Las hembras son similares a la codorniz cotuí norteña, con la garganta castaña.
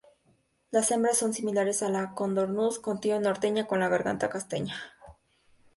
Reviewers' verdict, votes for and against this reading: rejected, 0, 2